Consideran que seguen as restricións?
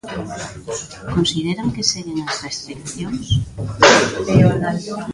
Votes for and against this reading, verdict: 1, 2, rejected